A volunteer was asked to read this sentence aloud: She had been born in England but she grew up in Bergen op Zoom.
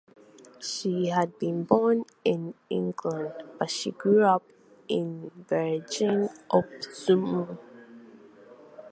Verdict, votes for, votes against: rejected, 2, 4